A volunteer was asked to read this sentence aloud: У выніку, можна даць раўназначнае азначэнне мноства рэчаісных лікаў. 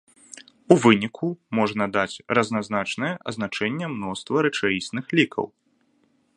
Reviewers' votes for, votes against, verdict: 0, 2, rejected